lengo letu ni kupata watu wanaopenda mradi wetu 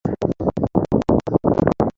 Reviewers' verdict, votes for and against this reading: rejected, 0, 2